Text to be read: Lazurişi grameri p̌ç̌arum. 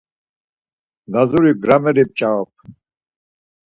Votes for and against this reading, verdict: 2, 4, rejected